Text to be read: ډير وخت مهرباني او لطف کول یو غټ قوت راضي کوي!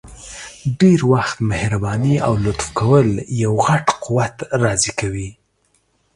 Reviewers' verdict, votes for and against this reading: accepted, 2, 0